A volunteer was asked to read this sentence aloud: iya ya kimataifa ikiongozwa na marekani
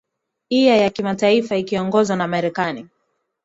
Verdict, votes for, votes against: accepted, 2, 0